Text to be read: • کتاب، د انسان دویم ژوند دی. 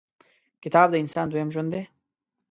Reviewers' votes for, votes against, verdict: 2, 0, accepted